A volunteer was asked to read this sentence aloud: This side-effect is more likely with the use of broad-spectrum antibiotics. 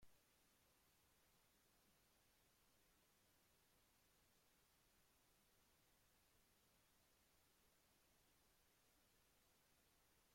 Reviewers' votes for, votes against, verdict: 0, 2, rejected